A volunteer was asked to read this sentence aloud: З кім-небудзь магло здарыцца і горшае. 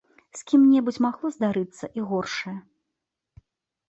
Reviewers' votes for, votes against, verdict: 1, 2, rejected